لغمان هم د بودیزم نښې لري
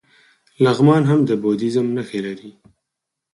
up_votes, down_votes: 2, 4